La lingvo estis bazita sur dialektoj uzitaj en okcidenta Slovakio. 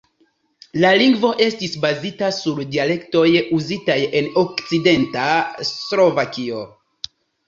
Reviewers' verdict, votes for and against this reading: accepted, 2, 1